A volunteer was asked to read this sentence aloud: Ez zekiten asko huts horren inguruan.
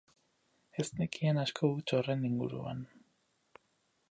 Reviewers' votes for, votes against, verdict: 2, 4, rejected